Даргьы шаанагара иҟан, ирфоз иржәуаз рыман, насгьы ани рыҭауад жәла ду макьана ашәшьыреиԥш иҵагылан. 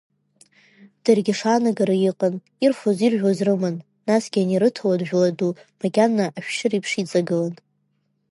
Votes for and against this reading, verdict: 1, 2, rejected